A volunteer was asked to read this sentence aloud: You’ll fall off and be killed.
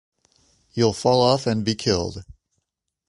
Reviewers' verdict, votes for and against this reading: accepted, 2, 0